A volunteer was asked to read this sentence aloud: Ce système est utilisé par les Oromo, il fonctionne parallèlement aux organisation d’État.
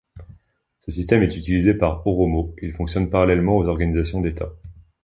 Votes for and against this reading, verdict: 1, 2, rejected